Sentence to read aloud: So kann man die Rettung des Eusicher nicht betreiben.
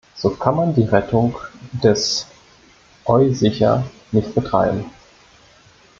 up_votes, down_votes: 0, 2